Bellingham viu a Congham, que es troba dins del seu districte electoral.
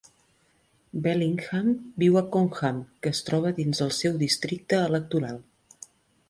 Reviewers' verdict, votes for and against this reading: rejected, 1, 2